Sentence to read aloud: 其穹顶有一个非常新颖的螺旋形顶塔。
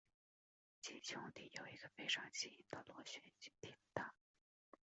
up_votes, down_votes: 3, 4